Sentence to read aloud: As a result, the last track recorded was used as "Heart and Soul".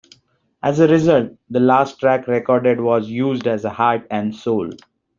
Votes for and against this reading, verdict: 2, 1, accepted